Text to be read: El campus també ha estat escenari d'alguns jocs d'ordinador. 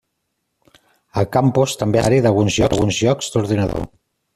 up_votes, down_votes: 0, 2